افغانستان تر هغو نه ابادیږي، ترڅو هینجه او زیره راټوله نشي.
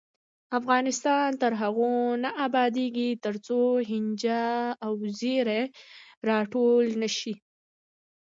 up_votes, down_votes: 1, 3